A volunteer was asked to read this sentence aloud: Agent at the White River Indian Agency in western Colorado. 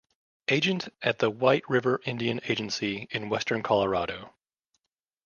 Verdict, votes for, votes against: accepted, 2, 0